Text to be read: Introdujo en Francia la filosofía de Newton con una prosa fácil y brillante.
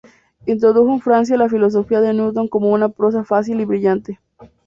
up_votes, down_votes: 2, 0